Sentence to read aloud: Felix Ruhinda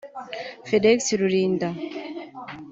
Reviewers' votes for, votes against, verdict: 1, 2, rejected